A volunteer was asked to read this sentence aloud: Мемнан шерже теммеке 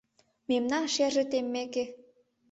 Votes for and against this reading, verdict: 3, 0, accepted